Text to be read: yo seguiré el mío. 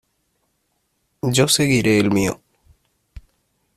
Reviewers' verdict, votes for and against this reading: accepted, 2, 0